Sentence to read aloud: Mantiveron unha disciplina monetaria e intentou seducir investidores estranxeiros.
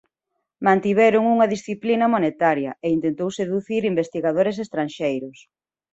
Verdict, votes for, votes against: rejected, 0, 2